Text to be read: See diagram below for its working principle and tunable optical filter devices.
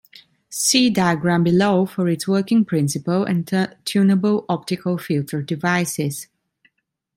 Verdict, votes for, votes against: rejected, 1, 2